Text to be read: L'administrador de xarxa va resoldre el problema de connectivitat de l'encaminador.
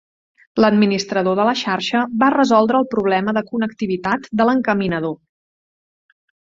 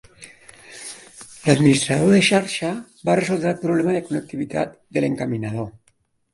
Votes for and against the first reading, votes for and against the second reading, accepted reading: 0, 2, 3, 0, second